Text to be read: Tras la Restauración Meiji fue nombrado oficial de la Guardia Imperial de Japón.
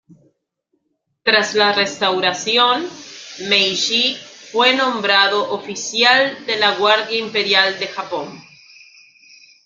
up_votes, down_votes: 2, 0